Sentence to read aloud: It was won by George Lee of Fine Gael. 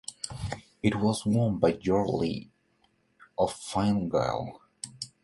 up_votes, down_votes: 2, 0